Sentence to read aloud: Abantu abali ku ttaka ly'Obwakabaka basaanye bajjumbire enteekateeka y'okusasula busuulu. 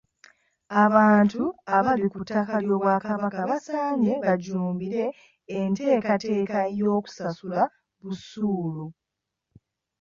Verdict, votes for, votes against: accepted, 2, 0